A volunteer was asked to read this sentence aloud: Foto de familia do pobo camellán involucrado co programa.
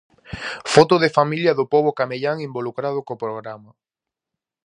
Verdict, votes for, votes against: accepted, 4, 0